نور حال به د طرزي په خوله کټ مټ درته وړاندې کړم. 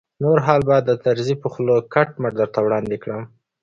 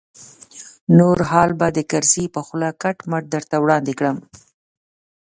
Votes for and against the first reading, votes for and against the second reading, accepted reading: 2, 0, 0, 2, first